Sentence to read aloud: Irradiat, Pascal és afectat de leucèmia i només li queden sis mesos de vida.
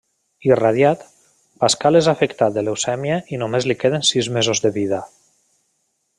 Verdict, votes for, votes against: accepted, 2, 0